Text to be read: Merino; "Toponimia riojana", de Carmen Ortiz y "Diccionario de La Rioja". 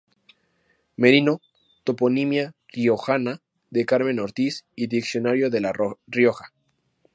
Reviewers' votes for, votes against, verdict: 0, 2, rejected